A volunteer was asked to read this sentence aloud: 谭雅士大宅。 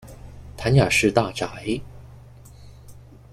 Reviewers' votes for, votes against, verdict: 2, 0, accepted